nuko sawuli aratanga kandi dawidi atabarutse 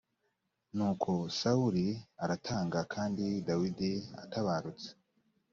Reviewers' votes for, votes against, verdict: 2, 0, accepted